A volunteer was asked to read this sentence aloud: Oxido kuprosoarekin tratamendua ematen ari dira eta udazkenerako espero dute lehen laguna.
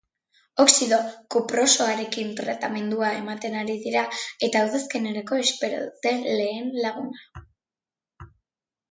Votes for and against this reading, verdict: 2, 0, accepted